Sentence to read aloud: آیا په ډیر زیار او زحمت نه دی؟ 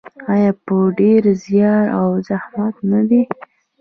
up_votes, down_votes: 2, 0